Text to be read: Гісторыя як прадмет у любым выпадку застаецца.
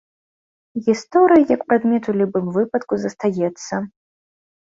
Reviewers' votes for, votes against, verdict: 2, 0, accepted